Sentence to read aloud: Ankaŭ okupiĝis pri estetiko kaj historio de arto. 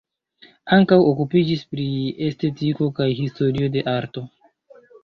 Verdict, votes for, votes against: rejected, 1, 2